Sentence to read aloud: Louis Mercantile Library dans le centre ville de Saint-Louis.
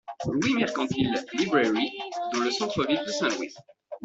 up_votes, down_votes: 2, 0